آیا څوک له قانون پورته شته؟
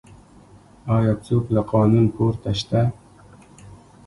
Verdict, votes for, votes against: accepted, 2, 0